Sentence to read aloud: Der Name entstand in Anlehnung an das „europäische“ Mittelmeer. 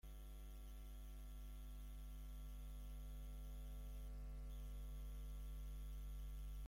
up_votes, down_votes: 0, 2